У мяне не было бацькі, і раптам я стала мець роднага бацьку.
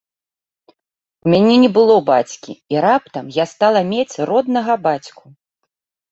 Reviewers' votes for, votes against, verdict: 2, 0, accepted